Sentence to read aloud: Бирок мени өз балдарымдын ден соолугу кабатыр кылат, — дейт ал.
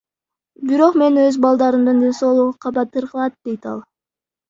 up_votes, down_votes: 0, 2